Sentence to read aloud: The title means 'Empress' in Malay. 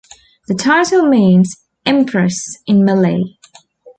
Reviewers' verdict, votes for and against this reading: accepted, 2, 0